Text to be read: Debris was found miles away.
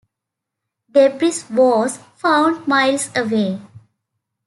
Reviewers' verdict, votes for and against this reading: rejected, 0, 2